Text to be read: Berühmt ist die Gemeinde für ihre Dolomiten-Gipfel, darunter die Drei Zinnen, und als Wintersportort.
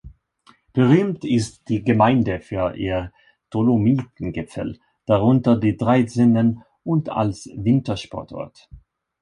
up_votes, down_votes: 0, 2